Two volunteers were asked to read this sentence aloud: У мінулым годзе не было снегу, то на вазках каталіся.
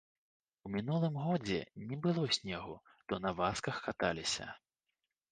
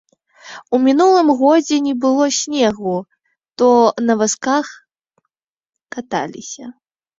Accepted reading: second